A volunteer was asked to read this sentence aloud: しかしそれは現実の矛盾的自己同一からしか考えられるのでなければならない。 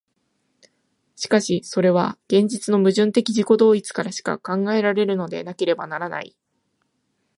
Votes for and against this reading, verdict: 2, 0, accepted